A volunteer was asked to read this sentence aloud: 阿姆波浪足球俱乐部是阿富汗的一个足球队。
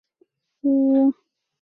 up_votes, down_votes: 0, 6